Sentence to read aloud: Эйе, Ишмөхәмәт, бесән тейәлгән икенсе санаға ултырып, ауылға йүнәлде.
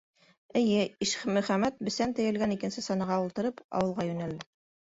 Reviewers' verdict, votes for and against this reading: rejected, 0, 2